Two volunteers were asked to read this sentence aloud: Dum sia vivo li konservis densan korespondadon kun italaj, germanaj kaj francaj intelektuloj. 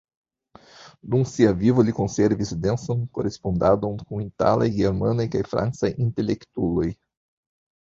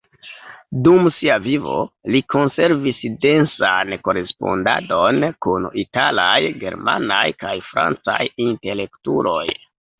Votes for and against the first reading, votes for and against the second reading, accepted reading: 2, 1, 1, 2, first